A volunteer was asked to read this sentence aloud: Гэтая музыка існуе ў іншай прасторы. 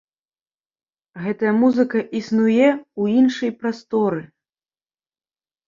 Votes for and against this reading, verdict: 2, 0, accepted